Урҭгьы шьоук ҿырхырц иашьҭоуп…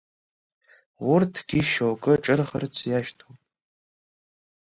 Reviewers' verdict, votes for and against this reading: rejected, 1, 2